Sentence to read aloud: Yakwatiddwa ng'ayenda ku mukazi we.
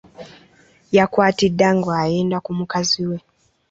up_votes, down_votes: 0, 2